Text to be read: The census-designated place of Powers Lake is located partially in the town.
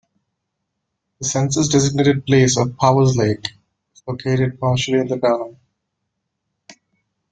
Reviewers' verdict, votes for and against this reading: rejected, 1, 2